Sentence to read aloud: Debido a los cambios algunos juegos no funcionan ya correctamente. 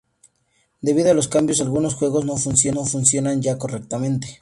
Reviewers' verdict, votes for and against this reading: rejected, 0, 2